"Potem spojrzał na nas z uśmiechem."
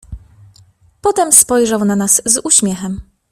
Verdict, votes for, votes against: accepted, 2, 0